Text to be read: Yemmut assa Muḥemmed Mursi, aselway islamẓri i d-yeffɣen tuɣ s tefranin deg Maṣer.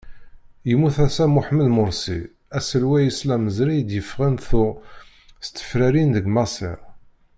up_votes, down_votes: 1, 2